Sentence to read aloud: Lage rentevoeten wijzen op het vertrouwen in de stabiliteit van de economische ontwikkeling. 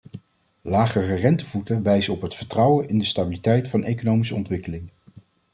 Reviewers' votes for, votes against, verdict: 0, 2, rejected